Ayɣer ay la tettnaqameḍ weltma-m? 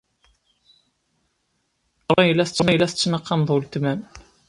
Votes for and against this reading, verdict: 0, 2, rejected